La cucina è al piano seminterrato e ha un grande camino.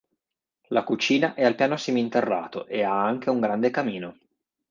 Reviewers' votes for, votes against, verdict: 1, 3, rejected